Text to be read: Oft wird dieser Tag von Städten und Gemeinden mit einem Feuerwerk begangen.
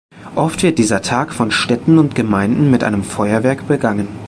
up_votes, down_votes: 2, 0